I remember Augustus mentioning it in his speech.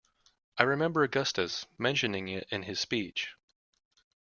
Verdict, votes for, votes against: accepted, 2, 0